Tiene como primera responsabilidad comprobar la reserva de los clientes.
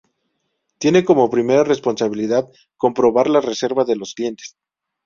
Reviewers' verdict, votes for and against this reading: accepted, 2, 0